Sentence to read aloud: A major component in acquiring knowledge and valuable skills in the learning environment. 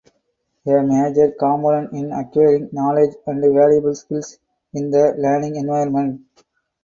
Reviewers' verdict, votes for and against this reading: accepted, 4, 0